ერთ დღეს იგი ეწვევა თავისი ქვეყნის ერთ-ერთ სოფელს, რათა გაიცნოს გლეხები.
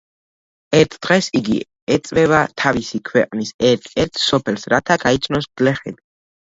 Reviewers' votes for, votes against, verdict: 2, 1, accepted